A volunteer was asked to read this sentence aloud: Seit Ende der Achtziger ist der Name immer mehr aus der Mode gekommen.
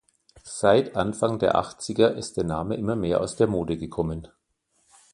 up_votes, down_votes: 0, 2